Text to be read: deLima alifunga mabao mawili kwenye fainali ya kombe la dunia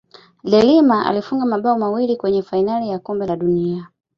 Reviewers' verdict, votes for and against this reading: accepted, 2, 1